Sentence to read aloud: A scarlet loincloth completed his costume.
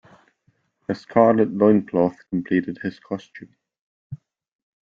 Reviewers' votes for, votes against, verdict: 2, 0, accepted